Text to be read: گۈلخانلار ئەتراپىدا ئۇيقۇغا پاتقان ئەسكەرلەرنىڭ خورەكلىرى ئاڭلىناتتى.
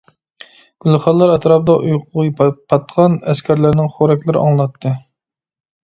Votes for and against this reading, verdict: 1, 2, rejected